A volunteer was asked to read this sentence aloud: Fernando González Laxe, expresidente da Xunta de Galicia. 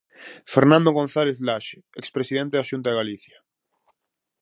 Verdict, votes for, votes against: accepted, 4, 0